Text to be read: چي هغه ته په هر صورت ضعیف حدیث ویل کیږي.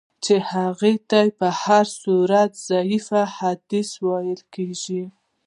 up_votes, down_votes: 2, 0